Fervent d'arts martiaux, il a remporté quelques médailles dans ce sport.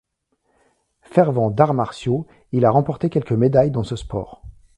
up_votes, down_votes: 3, 0